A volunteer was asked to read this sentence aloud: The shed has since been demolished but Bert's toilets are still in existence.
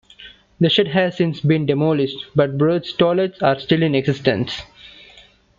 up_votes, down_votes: 2, 0